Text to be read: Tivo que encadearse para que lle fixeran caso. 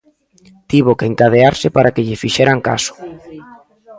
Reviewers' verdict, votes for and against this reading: accepted, 2, 0